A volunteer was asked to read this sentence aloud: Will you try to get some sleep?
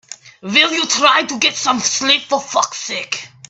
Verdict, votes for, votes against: rejected, 0, 2